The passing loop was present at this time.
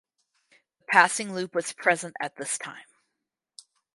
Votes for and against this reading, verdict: 0, 4, rejected